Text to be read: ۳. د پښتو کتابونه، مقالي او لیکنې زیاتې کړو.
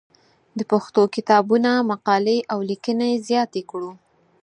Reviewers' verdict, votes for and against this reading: rejected, 0, 2